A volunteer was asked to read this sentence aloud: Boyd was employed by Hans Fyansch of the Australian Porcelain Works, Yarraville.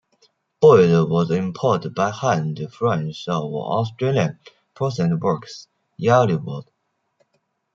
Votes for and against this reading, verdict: 1, 2, rejected